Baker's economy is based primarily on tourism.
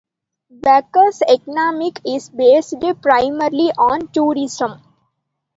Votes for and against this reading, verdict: 0, 2, rejected